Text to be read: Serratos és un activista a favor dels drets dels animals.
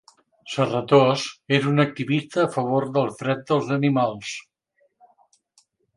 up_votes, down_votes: 1, 2